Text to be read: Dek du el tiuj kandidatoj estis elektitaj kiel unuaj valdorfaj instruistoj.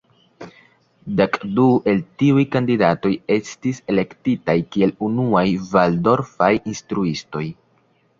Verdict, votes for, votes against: rejected, 1, 2